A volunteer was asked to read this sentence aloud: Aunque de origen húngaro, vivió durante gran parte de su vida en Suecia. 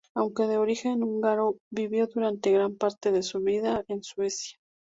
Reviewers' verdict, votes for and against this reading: rejected, 0, 2